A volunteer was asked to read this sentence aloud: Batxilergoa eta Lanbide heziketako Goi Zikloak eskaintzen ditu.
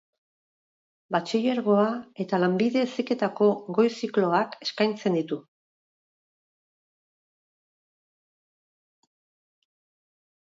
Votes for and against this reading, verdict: 4, 0, accepted